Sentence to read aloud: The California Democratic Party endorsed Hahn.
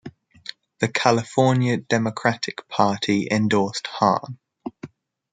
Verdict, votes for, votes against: accepted, 2, 0